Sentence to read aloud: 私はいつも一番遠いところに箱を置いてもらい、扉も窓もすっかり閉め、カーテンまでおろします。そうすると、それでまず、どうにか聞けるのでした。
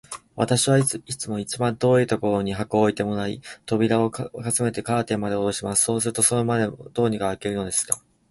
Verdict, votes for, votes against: accepted, 2, 0